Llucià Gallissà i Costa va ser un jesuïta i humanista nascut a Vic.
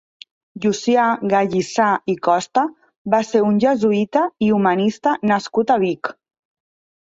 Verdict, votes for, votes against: accepted, 3, 0